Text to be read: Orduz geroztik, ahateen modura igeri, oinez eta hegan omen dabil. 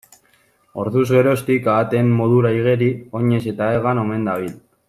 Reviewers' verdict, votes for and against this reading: accepted, 2, 0